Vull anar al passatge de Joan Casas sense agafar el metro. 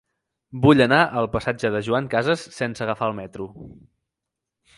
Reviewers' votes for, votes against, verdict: 2, 0, accepted